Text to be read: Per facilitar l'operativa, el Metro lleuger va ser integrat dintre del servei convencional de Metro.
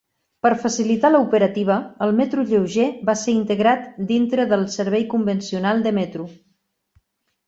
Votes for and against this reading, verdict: 5, 1, accepted